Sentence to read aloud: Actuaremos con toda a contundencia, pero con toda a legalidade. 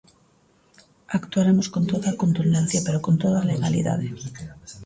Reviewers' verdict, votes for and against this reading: rejected, 0, 2